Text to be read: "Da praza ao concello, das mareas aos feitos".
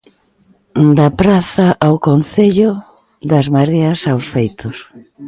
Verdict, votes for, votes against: accepted, 2, 0